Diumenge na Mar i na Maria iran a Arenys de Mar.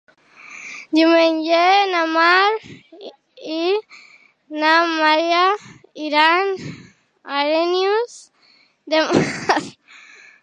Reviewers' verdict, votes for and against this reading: rejected, 0, 2